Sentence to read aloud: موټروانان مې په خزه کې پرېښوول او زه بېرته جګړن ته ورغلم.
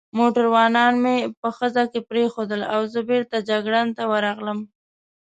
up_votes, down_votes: 2, 0